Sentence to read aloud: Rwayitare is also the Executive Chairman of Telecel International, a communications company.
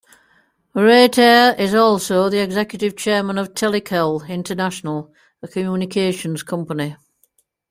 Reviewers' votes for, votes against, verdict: 1, 2, rejected